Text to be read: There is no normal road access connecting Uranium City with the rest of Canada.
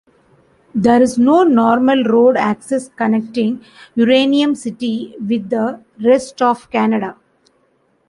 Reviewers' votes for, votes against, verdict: 2, 1, accepted